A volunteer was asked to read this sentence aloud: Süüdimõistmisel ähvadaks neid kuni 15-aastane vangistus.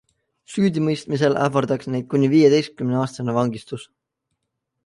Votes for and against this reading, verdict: 0, 2, rejected